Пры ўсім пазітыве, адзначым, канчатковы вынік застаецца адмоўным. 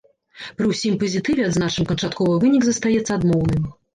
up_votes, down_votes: 2, 0